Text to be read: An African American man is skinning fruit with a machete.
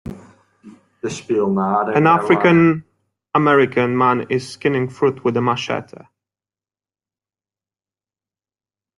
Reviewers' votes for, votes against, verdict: 0, 2, rejected